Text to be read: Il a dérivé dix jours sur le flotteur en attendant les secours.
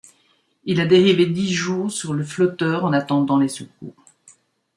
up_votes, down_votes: 2, 0